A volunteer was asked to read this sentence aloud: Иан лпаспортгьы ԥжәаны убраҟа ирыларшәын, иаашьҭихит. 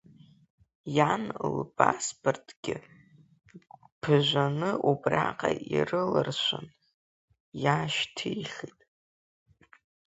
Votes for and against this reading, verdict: 0, 3, rejected